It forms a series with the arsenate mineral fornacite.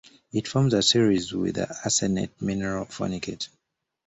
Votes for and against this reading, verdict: 0, 2, rejected